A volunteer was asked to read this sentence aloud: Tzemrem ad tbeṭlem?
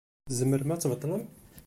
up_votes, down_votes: 2, 0